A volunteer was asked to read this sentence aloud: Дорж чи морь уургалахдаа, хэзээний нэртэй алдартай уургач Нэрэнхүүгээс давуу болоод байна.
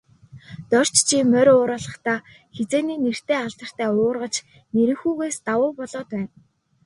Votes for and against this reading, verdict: 1, 2, rejected